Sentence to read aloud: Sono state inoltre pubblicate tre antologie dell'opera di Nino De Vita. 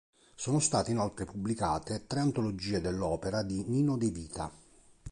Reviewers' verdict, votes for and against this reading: accepted, 2, 0